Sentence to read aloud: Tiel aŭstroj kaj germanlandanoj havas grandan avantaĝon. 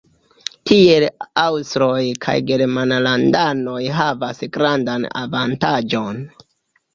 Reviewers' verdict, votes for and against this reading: accepted, 2, 0